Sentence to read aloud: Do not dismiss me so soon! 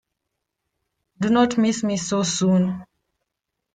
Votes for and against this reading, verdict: 1, 2, rejected